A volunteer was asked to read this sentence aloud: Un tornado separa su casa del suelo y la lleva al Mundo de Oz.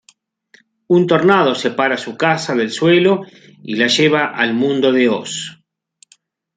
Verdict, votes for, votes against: accepted, 2, 0